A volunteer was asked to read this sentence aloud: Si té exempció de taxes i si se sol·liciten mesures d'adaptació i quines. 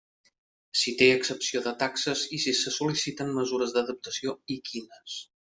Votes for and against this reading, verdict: 1, 2, rejected